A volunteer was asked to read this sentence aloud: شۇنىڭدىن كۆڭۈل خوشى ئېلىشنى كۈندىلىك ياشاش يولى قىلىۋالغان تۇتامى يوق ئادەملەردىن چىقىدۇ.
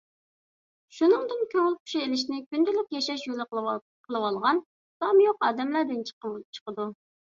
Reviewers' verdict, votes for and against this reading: rejected, 0, 2